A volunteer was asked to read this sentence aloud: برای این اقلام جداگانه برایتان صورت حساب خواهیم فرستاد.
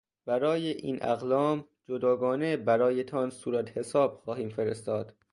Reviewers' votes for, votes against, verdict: 2, 0, accepted